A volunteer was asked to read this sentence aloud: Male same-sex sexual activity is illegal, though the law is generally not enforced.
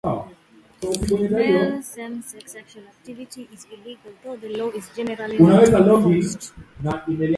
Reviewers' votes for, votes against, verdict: 0, 2, rejected